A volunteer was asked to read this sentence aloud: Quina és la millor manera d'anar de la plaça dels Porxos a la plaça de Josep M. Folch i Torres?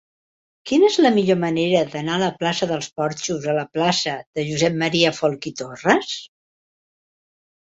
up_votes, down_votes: 2, 0